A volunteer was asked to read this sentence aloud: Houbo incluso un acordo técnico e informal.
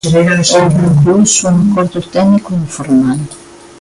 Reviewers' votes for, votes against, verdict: 0, 2, rejected